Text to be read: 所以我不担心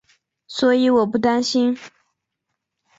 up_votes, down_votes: 2, 0